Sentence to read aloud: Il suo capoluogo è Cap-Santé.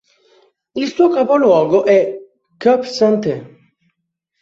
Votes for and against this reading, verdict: 2, 0, accepted